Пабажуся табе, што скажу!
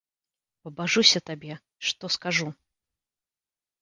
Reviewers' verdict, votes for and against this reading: accepted, 2, 0